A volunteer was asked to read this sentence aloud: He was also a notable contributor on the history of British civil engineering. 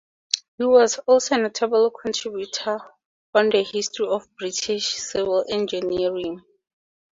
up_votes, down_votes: 2, 0